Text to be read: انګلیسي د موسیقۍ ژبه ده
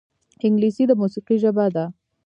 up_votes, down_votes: 1, 2